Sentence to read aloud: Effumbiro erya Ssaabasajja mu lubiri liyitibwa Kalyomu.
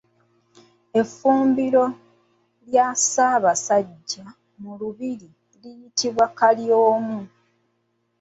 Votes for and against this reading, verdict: 0, 2, rejected